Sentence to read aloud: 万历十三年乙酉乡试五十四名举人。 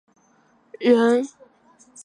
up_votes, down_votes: 0, 2